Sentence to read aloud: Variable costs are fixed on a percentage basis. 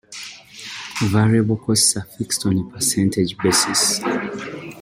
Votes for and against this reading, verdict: 2, 0, accepted